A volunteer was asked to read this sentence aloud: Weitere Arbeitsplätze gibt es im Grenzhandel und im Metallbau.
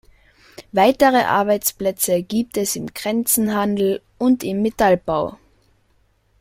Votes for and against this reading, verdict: 0, 2, rejected